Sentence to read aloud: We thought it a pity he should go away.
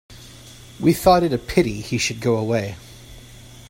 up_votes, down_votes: 2, 0